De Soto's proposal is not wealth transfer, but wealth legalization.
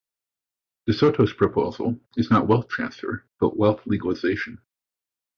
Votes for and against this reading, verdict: 2, 0, accepted